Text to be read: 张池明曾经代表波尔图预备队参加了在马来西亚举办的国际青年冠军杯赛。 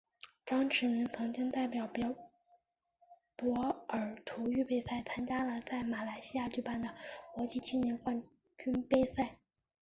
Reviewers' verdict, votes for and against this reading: rejected, 0, 2